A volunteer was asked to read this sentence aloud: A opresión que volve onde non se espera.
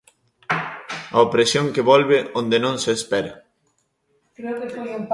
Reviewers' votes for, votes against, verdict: 1, 2, rejected